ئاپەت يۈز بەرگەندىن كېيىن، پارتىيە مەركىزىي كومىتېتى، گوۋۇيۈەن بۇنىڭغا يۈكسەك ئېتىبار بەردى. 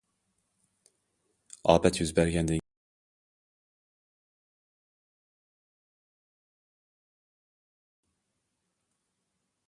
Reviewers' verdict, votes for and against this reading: rejected, 0, 2